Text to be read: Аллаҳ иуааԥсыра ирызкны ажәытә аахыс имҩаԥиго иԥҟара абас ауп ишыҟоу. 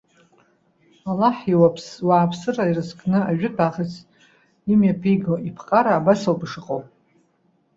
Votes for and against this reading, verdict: 1, 2, rejected